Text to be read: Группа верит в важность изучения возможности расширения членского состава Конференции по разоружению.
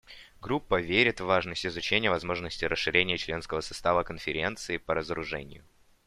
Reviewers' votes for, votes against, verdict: 2, 0, accepted